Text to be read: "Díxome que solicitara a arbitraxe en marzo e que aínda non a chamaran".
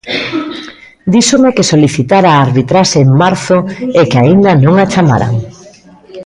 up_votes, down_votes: 0, 2